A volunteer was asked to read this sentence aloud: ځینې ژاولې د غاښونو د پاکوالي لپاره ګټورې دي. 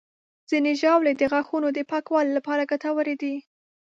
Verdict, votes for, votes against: accepted, 2, 0